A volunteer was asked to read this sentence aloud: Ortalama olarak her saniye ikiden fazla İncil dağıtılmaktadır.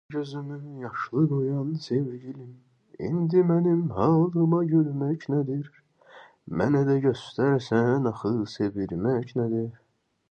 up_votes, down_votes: 0, 2